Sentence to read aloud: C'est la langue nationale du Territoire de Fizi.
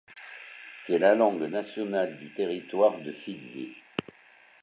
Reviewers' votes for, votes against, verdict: 1, 2, rejected